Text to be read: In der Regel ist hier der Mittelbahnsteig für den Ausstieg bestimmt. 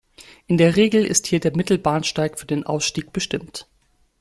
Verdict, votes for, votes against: accepted, 2, 0